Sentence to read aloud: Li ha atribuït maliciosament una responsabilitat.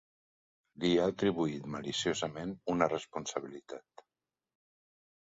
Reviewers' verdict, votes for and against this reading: accepted, 2, 0